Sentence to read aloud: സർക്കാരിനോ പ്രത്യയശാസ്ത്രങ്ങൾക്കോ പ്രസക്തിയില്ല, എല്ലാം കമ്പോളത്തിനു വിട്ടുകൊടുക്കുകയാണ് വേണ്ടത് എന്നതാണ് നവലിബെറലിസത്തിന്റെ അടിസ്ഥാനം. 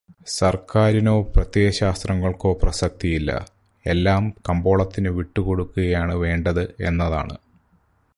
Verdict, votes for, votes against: rejected, 0, 4